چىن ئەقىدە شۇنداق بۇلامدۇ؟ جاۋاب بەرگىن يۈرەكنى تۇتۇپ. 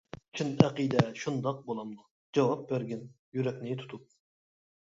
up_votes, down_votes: 1, 2